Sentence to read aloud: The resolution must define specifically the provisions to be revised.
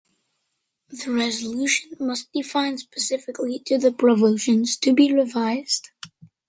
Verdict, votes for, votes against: rejected, 0, 2